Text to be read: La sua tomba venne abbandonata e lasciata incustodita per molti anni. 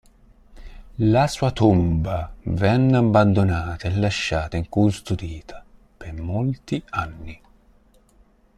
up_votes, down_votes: 3, 0